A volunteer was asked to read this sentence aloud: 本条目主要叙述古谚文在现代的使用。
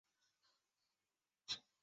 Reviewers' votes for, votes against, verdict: 0, 4, rejected